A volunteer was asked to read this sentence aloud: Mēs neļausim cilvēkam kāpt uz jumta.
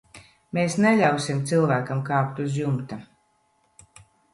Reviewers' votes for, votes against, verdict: 3, 0, accepted